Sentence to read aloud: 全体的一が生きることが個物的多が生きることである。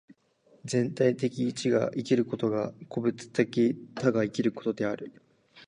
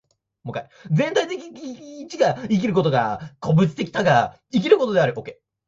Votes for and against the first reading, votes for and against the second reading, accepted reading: 2, 0, 2, 3, first